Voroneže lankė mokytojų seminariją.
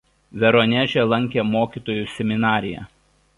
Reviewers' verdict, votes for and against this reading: rejected, 1, 2